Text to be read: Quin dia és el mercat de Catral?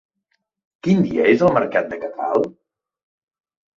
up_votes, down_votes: 2, 0